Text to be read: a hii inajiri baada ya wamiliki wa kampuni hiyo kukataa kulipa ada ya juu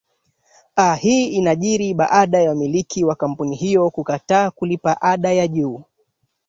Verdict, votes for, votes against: accepted, 2, 1